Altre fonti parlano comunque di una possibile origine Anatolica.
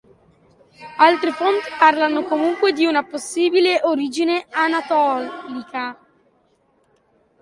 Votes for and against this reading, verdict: 1, 2, rejected